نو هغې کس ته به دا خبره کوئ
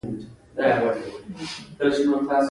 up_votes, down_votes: 2, 0